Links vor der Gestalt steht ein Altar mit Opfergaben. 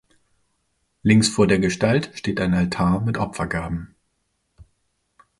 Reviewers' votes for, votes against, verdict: 2, 0, accepted